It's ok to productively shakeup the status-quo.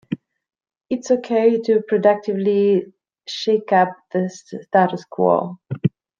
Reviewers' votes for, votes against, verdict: 1, 2, rejected